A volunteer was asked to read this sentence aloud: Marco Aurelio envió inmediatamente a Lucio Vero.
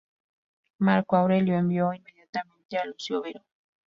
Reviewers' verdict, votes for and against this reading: rejected, 0, 2